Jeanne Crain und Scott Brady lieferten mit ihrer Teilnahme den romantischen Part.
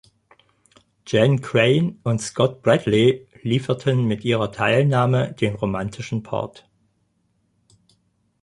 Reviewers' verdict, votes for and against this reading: rejected, 0, 4